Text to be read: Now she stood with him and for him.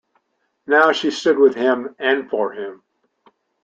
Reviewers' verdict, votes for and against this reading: accepted, 2, 0